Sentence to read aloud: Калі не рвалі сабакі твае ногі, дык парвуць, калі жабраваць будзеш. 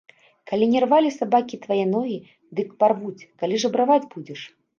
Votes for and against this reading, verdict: 2, 0, accepted